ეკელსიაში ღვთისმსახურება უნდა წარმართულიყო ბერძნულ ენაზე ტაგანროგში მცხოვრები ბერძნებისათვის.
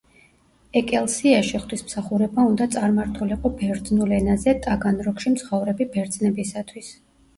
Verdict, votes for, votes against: rejected, 0, 2